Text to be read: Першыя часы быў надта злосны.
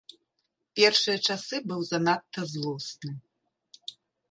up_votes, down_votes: 1, 2